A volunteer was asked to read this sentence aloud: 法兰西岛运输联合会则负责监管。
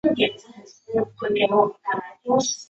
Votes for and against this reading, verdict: 0, 2, rejected